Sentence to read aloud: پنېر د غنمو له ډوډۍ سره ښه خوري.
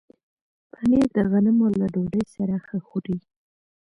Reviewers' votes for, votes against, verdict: 1, 2, rejected